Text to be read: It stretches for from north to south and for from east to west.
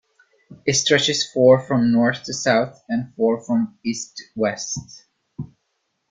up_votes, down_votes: 2, 1